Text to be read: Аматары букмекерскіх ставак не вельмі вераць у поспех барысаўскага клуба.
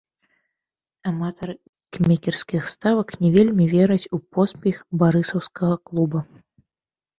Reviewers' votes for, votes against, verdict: 1, 2, rejected